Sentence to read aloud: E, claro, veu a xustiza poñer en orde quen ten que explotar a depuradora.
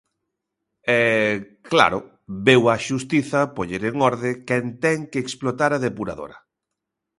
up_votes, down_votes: 2, 0